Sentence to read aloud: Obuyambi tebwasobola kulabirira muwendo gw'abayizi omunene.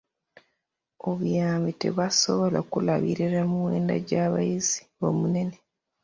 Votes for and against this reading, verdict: 0, 2, rejected